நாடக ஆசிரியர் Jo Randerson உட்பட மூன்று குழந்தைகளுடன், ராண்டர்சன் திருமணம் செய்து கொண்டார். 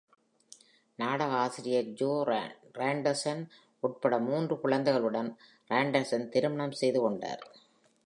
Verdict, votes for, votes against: rejected, 1, 2